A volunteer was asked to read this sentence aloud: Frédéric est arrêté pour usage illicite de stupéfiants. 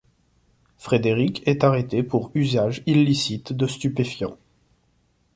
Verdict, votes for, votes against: accepted, 2, 0